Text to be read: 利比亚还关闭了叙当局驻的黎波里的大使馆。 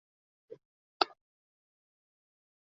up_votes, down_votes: 0, 4